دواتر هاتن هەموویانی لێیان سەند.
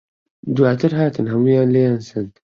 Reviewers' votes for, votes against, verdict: 1, 2, rejected